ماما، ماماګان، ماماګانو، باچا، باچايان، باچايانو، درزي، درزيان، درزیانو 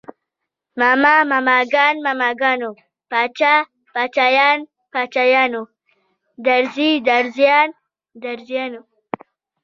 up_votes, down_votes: 2, 0